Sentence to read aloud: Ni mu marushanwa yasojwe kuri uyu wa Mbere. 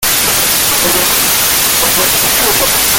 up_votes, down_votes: 0, 2